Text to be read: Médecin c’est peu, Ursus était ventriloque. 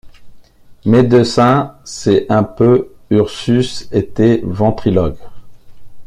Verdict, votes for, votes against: rejected, 1, 2